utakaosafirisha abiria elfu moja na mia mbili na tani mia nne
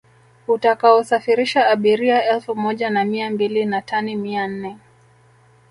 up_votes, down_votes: 3, 0